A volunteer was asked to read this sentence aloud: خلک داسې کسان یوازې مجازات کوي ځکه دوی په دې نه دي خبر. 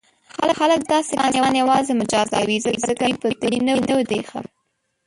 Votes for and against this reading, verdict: 0, 2, rejected